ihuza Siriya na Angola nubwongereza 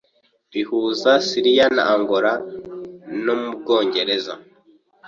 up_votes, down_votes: 1, 2